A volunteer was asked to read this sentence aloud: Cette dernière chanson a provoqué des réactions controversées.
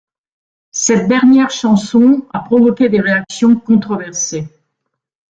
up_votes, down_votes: 1, 2